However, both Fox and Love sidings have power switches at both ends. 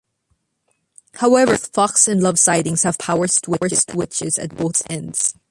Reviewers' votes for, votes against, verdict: 0, 2, rejected